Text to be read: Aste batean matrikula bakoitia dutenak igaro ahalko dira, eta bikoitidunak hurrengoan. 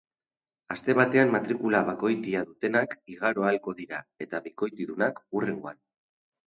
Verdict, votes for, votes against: accepted, 4, 0